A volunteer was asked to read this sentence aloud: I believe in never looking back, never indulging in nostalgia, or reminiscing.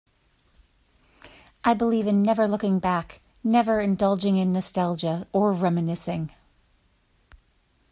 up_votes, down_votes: 2, 0